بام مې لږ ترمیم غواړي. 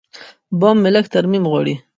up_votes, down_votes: 1, 2